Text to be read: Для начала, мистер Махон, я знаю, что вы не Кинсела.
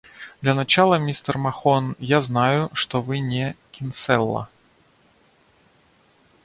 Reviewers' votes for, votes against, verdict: 1, 2, rejected